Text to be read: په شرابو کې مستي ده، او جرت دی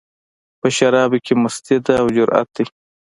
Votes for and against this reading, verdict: 2, 0, accepted